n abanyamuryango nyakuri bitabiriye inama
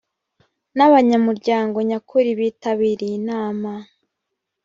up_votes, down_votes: 1, 2